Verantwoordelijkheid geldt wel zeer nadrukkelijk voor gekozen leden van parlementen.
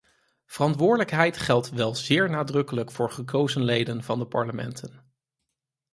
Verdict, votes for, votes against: rejected, 0, 4